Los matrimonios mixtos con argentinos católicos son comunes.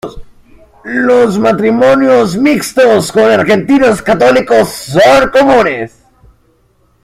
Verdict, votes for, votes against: accepted, 2, 0